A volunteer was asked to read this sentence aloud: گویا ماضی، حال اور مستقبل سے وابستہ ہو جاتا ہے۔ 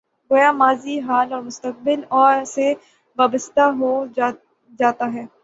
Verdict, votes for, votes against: rejected, 3, 6